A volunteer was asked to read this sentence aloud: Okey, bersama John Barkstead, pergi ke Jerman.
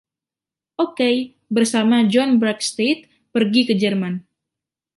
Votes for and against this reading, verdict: 1, 2, rejected